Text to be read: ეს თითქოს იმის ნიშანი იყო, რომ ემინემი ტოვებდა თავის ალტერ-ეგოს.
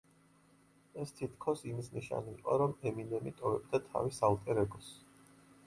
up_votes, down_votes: 2, 0